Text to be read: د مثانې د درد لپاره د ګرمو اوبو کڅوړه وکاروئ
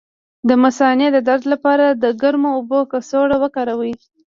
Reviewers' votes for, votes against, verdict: 1, 2, rejected